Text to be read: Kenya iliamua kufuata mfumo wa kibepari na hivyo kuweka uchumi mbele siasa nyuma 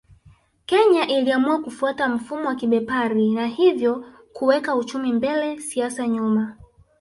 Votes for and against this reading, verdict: 3, 1, accepted